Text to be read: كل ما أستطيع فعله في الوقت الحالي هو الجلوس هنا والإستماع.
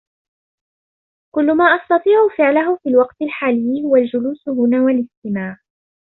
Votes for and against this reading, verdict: 2, 0, accepted